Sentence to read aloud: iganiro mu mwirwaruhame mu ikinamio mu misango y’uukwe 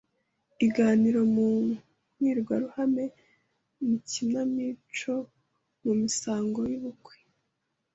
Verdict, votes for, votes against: rejected, 1, 2